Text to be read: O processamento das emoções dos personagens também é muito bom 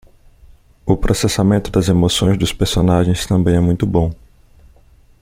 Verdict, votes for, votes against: accepted, 2, 0